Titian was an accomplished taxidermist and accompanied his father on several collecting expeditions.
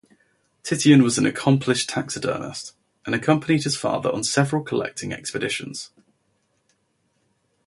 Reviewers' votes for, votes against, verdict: 2, 2, rejected